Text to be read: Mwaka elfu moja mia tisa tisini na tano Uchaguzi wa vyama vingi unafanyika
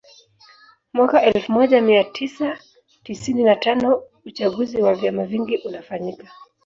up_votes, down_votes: 0, 2